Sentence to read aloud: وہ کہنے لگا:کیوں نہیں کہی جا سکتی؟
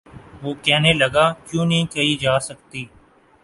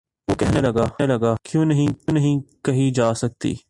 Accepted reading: first